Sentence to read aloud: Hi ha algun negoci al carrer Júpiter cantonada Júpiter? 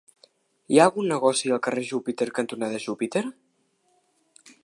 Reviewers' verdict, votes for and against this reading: accepted, 2, 0